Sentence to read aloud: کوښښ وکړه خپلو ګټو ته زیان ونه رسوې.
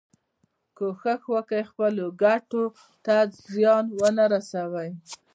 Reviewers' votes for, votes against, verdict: 1, 2, rejected